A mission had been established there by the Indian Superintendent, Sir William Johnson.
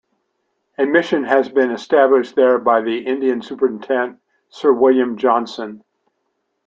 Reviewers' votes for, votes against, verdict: 1, 2, rejected